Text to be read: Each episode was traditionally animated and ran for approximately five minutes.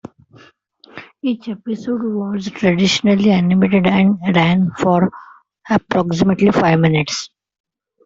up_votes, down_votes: 2, 0